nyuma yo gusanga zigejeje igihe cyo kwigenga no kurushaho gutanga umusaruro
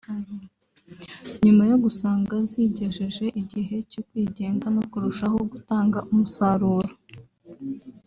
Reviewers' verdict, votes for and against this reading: accepted, 2, 1